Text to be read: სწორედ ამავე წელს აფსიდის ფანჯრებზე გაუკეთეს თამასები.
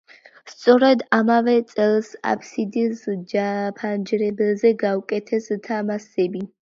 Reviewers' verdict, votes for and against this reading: rejected, 1, 2